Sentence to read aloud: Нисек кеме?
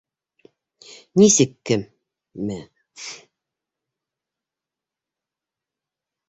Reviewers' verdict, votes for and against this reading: rejected, 0, 2